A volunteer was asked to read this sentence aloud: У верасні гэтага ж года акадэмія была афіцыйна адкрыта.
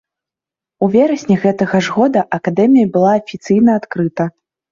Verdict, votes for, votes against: accepted, 2, 0